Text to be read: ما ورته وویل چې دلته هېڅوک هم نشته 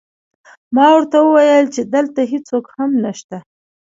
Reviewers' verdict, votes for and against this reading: accepted, 2, 0